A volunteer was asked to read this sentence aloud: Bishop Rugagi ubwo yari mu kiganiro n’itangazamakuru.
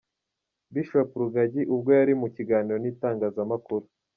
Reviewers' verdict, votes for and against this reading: accepted, 2, 0